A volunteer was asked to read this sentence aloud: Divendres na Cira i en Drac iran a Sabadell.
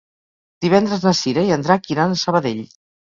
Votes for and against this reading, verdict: 0, 4, rejected